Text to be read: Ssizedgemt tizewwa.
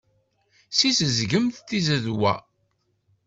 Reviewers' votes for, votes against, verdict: 1, 2, rejected